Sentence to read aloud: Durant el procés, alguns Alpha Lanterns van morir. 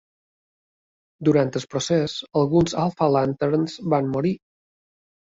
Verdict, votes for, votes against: rejected, 1, 2